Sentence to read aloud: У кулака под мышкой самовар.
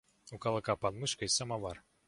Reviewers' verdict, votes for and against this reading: rejected, 1, 2